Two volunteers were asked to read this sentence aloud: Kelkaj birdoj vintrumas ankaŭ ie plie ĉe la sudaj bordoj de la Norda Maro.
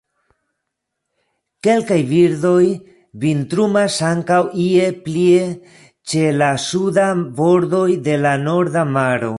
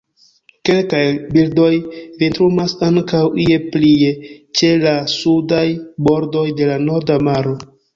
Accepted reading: first